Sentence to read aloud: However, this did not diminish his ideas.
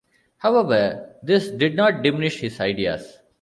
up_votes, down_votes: 1, 2